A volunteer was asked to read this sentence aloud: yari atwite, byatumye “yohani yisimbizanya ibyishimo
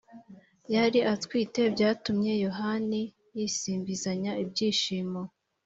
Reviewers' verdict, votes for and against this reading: accepted, 2, 0